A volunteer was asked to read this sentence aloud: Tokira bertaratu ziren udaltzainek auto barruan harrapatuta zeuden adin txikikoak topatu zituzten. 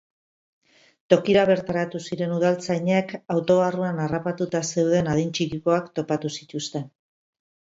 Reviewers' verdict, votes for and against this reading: rejected, 0, 4